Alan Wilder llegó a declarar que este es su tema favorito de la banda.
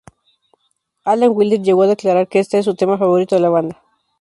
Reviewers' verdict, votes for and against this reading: accepted, 2, 0